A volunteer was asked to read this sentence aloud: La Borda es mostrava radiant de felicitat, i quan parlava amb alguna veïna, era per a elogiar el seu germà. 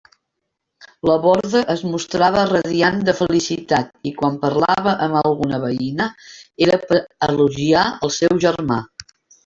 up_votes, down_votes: 1, 2